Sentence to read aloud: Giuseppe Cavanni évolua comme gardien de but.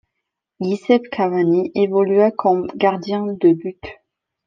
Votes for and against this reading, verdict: 0, 2, rejected